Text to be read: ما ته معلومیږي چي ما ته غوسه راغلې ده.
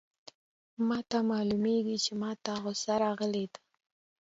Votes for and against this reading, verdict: 2, 0, accepted